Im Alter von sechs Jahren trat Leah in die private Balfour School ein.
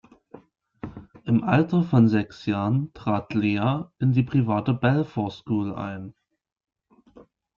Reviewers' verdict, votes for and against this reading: accepted, 2, 0